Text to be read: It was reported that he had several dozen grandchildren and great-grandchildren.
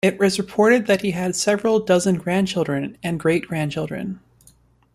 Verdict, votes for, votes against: accepted, 2, 0